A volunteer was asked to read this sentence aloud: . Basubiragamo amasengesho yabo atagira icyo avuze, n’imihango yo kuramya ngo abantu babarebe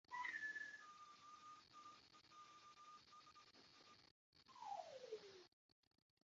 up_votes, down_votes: 0, 2